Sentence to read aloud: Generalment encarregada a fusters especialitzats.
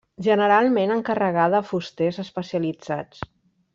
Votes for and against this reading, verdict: 3, 0, accepted